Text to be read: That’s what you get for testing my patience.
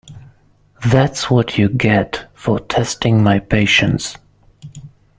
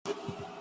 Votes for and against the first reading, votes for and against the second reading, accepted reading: 2, 0, 0, 2, first